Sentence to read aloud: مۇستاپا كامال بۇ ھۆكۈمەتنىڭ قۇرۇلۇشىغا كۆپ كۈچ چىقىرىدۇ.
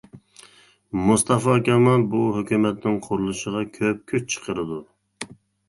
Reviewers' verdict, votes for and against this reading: rejected, 0, 2